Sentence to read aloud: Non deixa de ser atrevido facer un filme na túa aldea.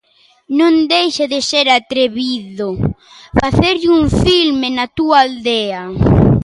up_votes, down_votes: 0, 2